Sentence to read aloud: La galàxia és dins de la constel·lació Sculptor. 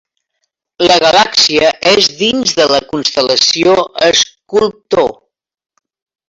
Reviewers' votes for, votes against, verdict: 0, 2, rejected